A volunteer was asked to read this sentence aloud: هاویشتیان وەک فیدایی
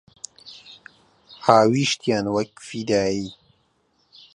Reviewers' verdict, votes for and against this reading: accepted, 3, 0